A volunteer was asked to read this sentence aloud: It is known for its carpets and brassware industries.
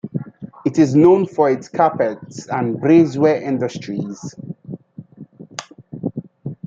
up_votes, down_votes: 0, 2